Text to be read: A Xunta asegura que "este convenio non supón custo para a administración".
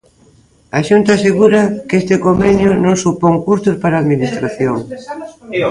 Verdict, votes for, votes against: rejected, 0, 2